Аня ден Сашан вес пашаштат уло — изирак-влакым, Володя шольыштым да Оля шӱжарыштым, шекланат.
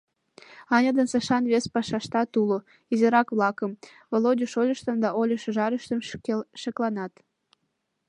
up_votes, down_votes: 0, 2